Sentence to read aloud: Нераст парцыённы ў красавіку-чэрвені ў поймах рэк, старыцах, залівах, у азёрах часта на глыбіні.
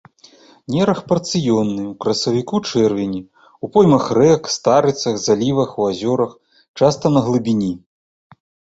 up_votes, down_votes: 0, 2